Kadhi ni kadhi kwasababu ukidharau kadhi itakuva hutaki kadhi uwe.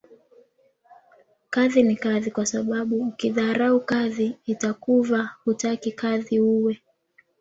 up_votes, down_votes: 2, 0